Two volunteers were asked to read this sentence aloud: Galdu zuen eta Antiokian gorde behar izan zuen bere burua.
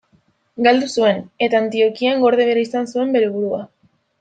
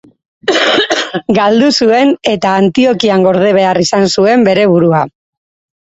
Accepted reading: first